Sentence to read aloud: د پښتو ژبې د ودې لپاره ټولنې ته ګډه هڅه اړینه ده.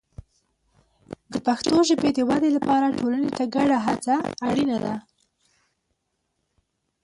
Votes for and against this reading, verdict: 1, 2, rejected